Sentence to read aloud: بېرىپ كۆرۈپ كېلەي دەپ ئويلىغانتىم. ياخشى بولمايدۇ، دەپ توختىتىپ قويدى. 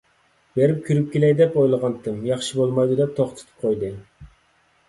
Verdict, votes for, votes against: accepted, 2, 0